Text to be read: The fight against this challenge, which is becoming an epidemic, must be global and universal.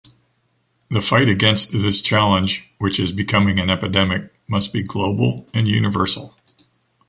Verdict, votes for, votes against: accepted, 2, 0